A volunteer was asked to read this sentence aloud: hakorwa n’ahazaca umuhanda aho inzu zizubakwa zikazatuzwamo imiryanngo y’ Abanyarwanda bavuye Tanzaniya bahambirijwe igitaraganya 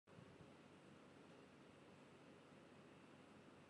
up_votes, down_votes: 0, 2